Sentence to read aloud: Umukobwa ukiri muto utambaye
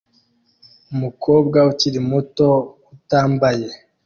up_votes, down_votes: 2, 1